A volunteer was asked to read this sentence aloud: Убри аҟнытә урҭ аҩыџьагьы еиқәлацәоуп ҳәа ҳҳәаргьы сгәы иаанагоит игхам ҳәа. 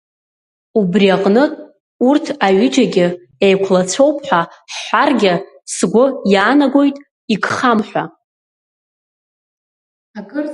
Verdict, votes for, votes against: accepted, 2, 0